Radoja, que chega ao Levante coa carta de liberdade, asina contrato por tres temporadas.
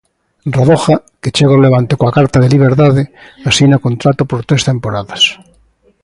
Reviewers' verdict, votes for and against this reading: accepted, 2, 0